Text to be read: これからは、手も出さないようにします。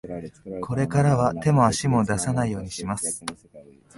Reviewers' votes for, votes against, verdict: 0, 2, rejected